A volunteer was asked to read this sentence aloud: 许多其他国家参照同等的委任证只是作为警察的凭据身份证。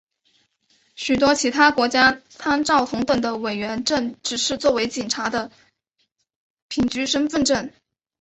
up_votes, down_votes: 2, 0